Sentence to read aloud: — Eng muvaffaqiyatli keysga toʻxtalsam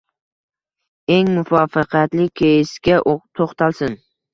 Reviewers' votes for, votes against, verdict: 1, 2, rejected